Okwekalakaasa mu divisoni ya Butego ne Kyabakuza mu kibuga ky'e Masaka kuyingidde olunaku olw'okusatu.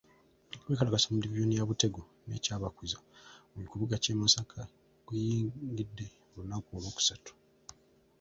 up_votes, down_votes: 2, 0